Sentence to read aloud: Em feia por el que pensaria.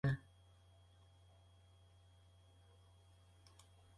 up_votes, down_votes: 1, 2